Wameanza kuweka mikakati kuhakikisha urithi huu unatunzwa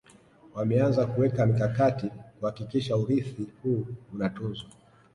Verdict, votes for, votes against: accepted, 2, 1